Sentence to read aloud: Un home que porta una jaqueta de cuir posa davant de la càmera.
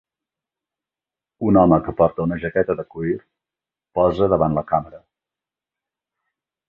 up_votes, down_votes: 1, 3